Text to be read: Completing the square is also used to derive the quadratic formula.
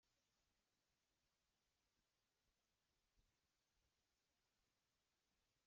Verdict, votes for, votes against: rejected, 0, 2